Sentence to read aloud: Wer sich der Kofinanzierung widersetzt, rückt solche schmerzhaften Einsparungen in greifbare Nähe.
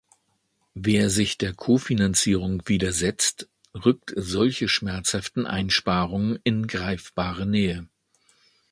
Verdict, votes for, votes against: accepted, 2, 1